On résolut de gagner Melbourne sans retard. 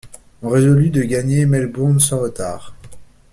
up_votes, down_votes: 1, 2